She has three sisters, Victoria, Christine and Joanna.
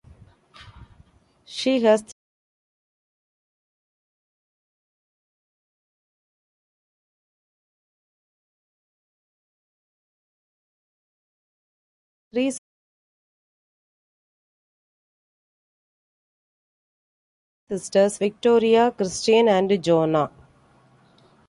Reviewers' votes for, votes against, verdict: 0, 2, rejected